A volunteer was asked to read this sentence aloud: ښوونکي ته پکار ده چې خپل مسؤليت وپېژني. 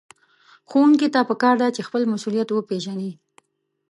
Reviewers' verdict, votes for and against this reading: accepted, 2, 0